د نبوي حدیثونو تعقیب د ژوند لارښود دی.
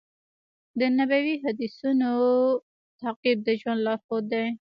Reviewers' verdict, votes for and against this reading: rejected, 1, 2